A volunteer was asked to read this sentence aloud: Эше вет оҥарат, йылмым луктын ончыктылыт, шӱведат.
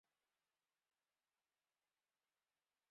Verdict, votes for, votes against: rejected, 1, 2